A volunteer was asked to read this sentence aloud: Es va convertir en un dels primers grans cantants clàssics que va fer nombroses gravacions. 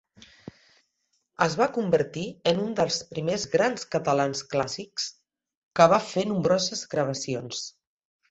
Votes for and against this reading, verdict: 2, 3, rejected